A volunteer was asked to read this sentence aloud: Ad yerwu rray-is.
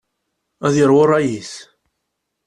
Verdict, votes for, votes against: accepted, 2, 0